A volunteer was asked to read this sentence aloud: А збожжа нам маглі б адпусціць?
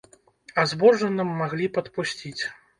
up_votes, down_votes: 1, 2